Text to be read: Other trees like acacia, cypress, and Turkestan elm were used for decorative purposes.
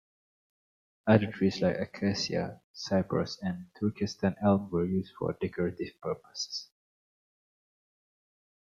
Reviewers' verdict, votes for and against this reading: accepted, 2, 1